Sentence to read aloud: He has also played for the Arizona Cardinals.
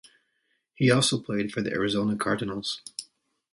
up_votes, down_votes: 0, 2